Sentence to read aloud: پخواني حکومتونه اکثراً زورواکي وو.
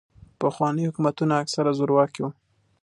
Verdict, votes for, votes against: accepted, 2, 0